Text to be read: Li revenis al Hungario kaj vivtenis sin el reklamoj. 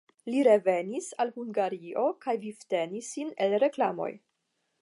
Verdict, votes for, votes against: accepted, 5, 0